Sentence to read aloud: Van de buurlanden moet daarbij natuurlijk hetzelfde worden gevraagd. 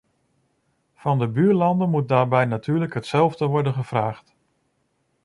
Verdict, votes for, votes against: accepted, 2, 0